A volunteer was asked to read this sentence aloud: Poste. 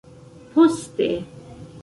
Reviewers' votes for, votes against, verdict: 2, 0, accepted